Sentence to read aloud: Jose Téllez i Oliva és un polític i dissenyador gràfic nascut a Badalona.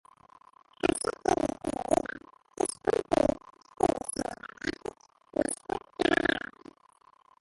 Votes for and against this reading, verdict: 0, 3, rejected